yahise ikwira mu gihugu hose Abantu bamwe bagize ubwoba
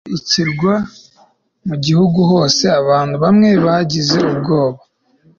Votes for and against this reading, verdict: 1, 2, rejected